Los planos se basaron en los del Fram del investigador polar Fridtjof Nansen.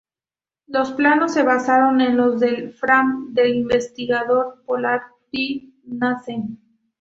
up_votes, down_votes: 2, 2